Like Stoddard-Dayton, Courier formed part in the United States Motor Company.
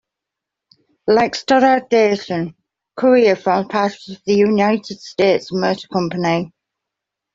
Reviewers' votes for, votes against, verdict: 0, 2, rejected